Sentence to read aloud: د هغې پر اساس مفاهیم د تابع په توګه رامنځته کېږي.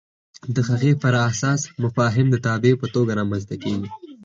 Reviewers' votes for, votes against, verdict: 4, 0, accepted